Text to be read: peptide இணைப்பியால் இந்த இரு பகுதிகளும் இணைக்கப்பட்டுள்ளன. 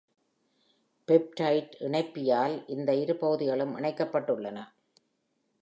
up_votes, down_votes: 2, 0